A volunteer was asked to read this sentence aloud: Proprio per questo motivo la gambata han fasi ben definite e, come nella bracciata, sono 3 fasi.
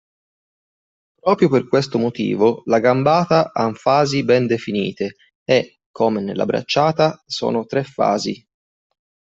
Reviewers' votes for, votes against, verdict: 0, 2, rejected